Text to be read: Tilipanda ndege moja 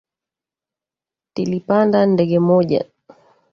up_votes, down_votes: 3, 1